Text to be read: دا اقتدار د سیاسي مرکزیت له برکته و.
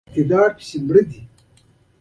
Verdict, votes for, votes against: rejected, 0, 2